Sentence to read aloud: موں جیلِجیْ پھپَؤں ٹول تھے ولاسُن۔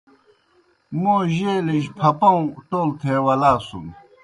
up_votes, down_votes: 2, 0